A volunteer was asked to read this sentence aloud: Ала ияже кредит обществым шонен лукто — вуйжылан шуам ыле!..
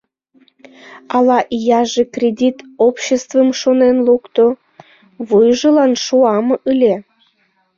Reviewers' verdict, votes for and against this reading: accepted, 2, 0